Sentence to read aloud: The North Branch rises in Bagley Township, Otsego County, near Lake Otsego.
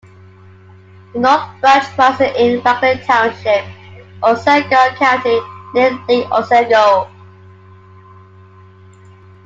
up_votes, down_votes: 0, 2